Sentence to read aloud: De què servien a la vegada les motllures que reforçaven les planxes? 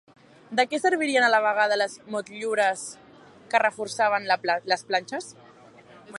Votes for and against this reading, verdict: 0, 2, rejected